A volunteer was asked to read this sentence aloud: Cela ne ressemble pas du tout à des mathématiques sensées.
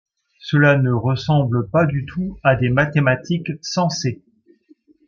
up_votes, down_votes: 2, 0